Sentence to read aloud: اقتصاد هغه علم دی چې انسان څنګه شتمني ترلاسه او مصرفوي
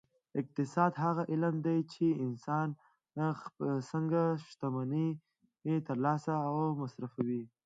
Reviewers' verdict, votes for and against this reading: accepted, 2, 0